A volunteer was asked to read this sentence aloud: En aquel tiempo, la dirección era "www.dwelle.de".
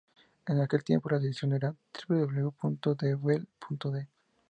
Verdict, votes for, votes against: rejected, 2, 2